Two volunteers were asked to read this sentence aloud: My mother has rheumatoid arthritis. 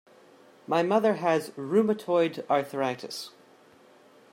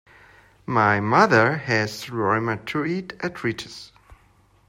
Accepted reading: first